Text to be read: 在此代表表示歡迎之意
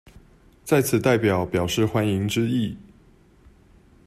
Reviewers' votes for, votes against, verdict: 2, 0, accepted